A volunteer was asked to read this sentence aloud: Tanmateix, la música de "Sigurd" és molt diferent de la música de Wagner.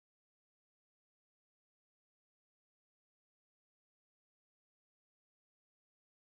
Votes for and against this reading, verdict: 0, 2, rejected